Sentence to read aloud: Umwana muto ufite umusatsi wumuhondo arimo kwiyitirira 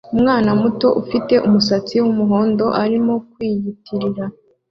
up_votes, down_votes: 2, 0